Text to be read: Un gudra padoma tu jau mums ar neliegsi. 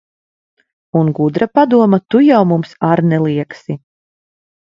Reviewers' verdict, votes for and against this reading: accepted, 2, 0